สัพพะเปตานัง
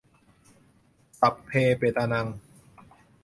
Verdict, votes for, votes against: rejected, 0, 2